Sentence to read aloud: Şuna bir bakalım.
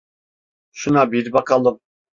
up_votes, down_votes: 2, 0